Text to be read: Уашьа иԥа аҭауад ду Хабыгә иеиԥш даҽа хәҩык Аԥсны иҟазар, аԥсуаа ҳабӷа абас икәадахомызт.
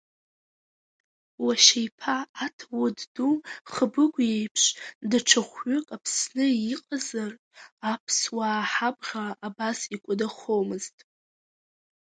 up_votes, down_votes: 2, 0